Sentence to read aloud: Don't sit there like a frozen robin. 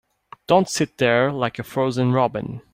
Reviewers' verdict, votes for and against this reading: accepted, 2, 0